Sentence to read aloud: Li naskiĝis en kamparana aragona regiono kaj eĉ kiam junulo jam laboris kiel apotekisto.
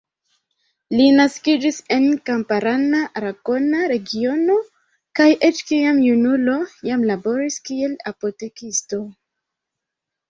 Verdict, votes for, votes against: rejected, 1, 2